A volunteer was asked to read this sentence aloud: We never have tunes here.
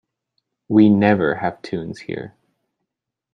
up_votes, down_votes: 2, 0